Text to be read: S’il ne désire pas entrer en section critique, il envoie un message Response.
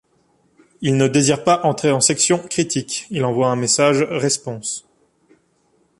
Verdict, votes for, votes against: rejected, 1, 3